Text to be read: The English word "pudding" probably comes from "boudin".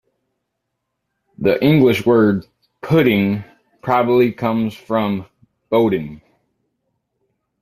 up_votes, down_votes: 2, 0